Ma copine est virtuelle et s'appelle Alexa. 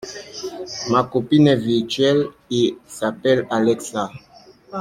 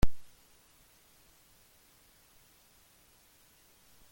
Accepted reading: first